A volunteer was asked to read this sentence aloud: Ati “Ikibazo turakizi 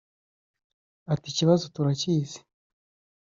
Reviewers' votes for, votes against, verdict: 2, 0, accepted